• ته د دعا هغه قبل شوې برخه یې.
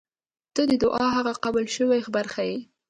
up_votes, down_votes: 0, 2